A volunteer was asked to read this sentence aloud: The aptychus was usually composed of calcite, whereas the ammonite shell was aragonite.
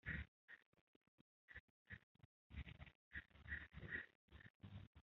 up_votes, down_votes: 0, 2